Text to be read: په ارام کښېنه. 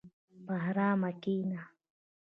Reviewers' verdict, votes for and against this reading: accepted, 2, 0